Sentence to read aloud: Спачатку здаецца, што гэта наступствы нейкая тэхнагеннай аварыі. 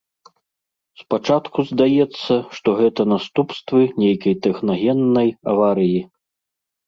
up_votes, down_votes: 0, 2